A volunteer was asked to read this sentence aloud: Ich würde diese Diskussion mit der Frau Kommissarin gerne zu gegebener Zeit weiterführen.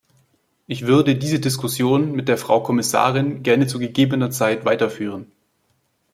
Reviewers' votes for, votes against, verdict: 2, 0, accepted